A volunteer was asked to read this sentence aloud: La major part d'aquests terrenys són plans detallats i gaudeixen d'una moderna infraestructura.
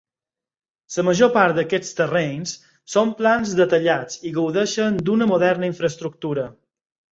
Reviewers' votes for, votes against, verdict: 2, 4, rejected